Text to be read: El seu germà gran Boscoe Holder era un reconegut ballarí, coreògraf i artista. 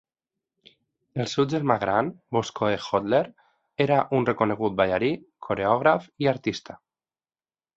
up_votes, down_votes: 3, 0